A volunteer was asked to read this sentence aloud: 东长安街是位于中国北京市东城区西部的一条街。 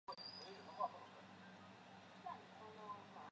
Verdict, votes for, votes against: rejected, 0, 3